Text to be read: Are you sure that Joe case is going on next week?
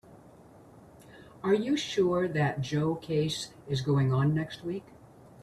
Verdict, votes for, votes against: accepted, 2, 0